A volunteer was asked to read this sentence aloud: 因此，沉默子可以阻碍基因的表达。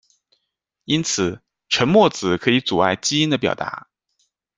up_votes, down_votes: 2, 0